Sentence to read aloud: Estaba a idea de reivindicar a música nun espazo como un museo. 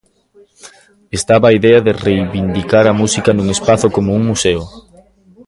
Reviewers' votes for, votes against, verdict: 1, 2, rejected